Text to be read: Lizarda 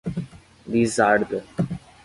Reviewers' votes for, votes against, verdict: 10, 0, accepted